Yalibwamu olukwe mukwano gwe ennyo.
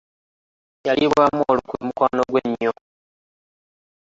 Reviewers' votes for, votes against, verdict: 1, 2, rejected